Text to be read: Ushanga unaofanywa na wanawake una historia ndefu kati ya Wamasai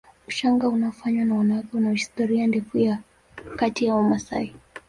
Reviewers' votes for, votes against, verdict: 0, 2, rejected